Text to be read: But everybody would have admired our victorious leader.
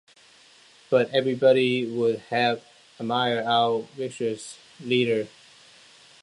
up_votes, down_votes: 0, 2